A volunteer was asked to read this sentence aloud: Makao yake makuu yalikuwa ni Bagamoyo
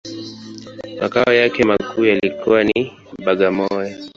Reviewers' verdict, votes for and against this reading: rejected, 1, 2